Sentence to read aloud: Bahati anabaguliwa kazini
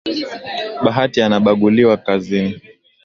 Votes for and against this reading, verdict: 2, 1, accepted